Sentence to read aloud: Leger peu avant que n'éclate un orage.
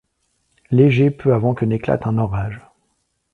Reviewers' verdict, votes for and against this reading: accepted, 2, 1